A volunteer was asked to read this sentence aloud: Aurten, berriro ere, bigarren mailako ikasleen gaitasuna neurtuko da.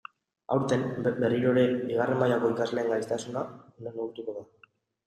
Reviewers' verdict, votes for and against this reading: rejected, 0, 2